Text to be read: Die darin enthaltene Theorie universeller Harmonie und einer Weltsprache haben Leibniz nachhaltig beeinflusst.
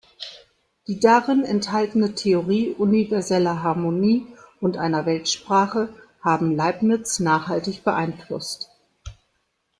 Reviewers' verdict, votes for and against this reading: rejected, 1, 2